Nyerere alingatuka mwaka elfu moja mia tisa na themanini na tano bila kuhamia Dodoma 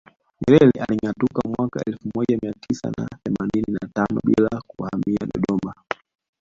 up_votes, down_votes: 2, 1